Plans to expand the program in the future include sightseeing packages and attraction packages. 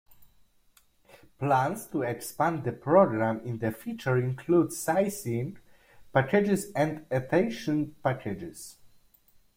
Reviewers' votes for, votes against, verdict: 0, 2, rejected